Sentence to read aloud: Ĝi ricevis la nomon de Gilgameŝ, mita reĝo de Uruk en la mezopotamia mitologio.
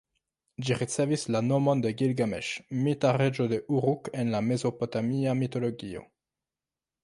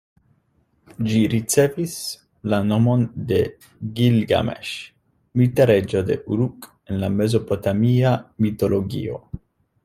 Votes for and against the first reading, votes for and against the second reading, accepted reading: 1, 2, 2, 0, second